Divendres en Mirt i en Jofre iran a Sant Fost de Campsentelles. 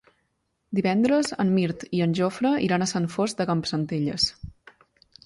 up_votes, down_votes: 2, 0